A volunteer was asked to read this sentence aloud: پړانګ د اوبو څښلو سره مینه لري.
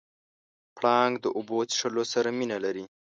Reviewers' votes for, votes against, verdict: 2, 0, accepted